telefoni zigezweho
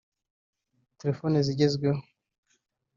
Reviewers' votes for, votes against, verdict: 2, 0, accepted